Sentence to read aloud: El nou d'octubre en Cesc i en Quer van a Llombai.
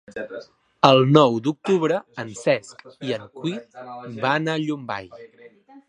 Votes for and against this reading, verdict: 1, 2, rejected